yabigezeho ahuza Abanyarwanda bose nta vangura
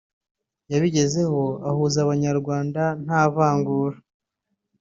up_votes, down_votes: 0, 2